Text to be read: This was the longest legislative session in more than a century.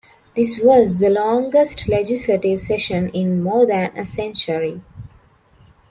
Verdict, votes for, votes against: rejected, 1, 2